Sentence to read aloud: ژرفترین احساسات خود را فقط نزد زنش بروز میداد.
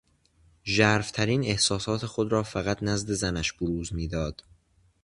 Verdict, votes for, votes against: accepted, 2, 0